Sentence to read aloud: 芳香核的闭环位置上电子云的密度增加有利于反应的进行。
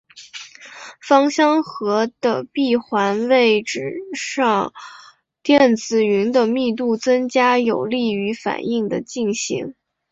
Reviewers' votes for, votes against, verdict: 4, 3, accepted